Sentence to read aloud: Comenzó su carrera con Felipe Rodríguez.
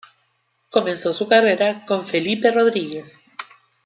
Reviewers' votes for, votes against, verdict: 1, 2, rejected